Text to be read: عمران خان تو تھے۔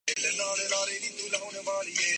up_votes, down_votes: 0, 3